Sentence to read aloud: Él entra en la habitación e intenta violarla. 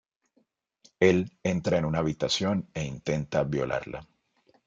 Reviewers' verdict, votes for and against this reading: rejected, 0, 2